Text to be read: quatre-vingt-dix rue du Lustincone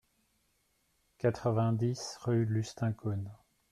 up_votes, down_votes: 1, 2